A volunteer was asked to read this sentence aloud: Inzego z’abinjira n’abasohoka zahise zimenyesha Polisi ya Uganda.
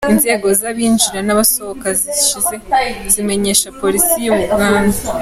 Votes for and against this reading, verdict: 0, 2, rejected